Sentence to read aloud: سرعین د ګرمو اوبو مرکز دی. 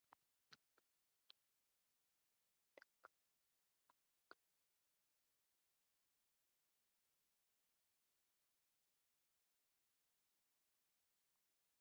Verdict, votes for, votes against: rejected, 1, 2